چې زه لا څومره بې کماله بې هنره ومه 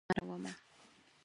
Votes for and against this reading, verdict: 0, 4, rejected